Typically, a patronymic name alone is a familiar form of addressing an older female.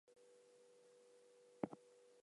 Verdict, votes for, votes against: rejected, 0, 2